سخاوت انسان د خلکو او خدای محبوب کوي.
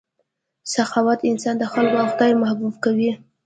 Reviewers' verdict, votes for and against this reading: rejected, 1, 2